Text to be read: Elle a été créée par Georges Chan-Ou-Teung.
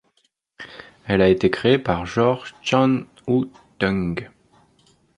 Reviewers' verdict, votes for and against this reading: accepted, 2, 0